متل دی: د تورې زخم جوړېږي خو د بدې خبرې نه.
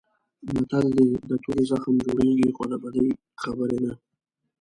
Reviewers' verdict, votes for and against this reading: rejected, 1, 2